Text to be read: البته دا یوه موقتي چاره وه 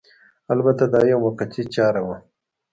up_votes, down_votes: 0, 2